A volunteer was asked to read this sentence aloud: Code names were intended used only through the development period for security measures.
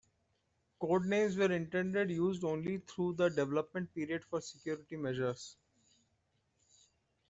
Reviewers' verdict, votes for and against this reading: rejected, 1, 2